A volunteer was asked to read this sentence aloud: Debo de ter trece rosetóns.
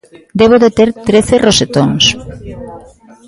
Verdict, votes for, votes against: rejected, 1, 2